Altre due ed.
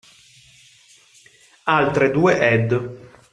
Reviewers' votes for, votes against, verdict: 2, 0, accepted